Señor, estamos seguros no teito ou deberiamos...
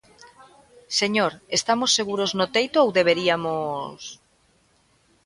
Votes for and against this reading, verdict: 2, 0, accepted